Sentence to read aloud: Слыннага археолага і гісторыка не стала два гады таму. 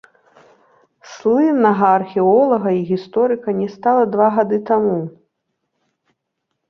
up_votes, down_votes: 2, 0